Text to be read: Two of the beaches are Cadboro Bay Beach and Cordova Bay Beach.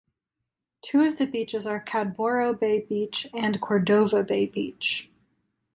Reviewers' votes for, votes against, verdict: 2, 0, accepted